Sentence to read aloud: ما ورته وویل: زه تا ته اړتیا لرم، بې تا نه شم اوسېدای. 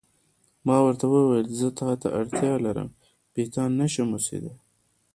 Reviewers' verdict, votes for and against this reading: accepted, 2, 1